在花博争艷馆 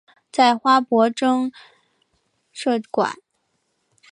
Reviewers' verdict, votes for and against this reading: rejected, 0, 2